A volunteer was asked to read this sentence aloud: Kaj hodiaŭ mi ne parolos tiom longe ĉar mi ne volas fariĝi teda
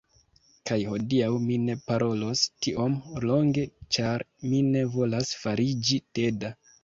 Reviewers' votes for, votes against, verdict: 1, 2, rejected